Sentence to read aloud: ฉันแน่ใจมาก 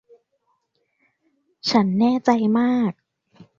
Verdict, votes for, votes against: accepted, 2, 0